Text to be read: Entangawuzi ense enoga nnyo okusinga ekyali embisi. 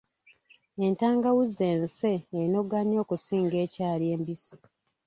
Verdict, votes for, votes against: rejected, 1, 2